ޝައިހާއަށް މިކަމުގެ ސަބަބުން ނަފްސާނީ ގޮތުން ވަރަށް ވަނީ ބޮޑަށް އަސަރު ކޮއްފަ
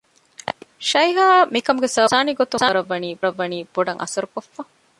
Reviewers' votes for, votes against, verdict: 0, 2, rejected